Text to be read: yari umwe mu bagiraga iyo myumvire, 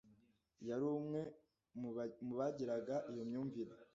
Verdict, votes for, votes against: rejected, 1, 2